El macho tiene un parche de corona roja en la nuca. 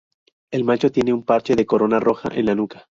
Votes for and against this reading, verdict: 2, 0, accepted